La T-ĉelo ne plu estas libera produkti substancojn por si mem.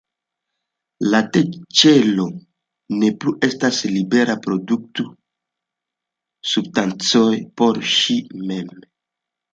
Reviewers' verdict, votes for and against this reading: rejected, 0, 2